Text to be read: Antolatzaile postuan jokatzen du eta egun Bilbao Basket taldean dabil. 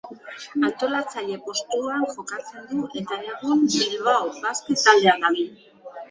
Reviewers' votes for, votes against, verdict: 1, 2, rejected